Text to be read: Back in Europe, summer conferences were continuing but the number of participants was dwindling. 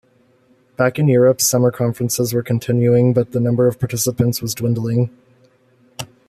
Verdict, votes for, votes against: accepted, 2, 0